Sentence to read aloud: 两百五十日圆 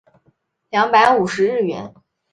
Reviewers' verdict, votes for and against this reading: accepted, 5, 1